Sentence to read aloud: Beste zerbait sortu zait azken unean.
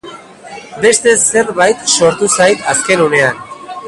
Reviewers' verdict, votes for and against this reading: accepted, 2, 1